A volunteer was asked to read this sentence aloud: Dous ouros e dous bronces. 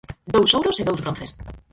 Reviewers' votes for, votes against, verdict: 2, 4, rejected